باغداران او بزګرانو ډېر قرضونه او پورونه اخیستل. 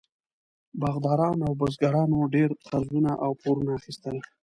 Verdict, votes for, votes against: accepted, 2, 0